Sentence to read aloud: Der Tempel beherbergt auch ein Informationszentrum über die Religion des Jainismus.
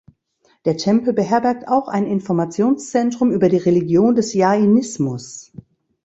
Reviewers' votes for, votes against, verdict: 2, 0, accepted